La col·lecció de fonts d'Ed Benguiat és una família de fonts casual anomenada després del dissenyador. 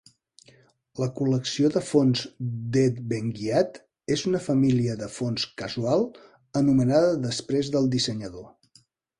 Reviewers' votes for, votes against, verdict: 1, 2, rejected